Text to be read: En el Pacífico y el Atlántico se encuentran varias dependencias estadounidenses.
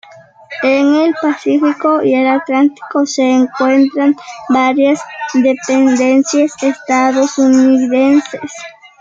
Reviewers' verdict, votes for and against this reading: rejected, 1, 2